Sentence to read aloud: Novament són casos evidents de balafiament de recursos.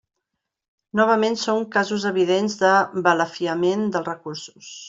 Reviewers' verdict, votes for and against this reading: accepted, 2, 0